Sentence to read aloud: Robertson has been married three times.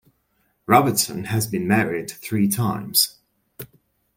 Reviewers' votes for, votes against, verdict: 2, 0, accepted